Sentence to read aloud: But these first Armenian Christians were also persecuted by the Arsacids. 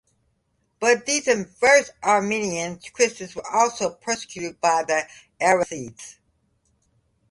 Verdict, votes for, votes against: rejected, 1, 2